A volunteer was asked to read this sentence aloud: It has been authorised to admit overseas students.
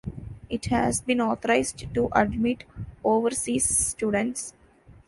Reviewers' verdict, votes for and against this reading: rejected, 1, 2